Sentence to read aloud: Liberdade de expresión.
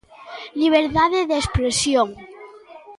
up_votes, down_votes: 1, 2